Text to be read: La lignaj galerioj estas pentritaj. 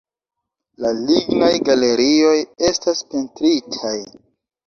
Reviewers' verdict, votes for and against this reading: accepted, 2, 1